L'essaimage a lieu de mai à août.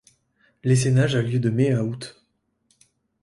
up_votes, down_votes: 1, 2